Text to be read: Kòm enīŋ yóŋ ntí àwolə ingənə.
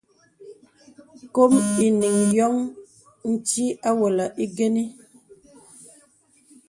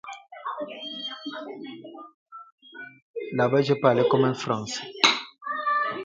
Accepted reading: first